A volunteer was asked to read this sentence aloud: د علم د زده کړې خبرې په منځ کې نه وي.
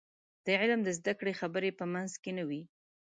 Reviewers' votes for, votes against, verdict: 2, 0, accepted